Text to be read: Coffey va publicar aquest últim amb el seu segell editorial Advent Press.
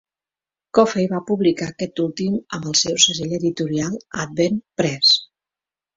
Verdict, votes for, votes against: accepted, 4, 0